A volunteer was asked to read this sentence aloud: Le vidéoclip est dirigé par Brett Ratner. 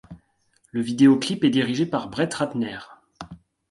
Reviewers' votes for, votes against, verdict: 2, 0, accepted